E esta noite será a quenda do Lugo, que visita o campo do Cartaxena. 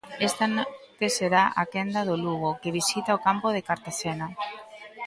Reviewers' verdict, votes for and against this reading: rejected, 0, 3